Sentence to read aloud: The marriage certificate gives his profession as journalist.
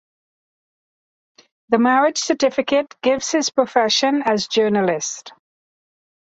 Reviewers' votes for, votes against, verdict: 2, 1, accepted